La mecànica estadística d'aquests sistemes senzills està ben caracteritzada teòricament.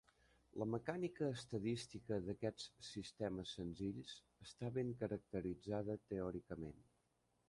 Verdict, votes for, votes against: rejected, 1, 2